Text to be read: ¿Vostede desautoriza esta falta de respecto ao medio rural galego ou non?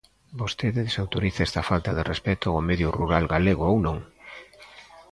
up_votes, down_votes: 2, 0